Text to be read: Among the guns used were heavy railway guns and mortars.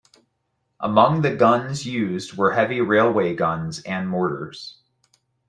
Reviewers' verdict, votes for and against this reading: accepted, 2, 0